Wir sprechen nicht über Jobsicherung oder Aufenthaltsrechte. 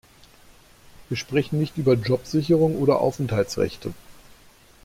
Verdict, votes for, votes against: accepted, 2, 1